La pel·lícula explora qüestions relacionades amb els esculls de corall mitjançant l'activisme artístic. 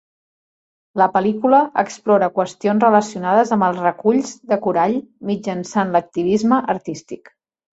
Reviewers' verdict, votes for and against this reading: rejected, 0, 2